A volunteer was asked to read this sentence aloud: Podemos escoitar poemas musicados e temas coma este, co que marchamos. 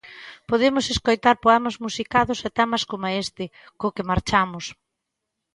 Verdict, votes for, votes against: accepted, 2, 0